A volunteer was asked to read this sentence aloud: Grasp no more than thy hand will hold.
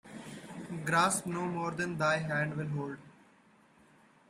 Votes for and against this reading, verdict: 2, 0, accepted